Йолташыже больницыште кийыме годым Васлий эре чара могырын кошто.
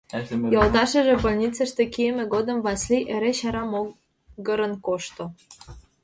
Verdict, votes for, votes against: accepted, 2, 0